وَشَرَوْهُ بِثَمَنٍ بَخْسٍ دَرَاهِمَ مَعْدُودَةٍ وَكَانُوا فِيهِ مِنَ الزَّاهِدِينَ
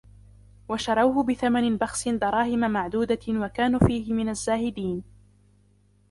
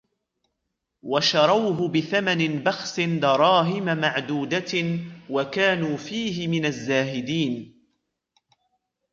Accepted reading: second